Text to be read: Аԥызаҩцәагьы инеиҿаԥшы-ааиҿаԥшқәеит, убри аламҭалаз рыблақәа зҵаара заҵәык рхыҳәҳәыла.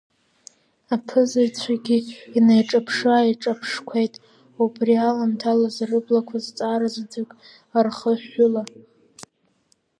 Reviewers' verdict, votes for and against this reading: accepted, 2, 0